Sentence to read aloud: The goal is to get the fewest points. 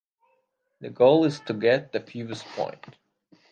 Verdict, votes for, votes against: accepted, 2, 0